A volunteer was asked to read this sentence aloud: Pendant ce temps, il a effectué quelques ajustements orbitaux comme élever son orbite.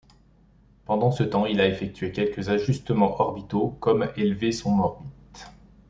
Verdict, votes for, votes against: accepted, 2, 0